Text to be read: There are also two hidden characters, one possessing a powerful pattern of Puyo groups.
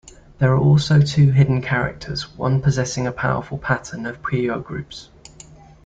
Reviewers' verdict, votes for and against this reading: accepted, 2, 0